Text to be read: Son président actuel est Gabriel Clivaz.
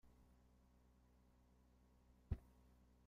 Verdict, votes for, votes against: rejected, 0, 2